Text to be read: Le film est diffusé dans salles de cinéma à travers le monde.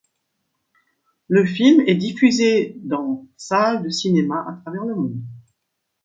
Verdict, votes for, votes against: accepted, 2, 0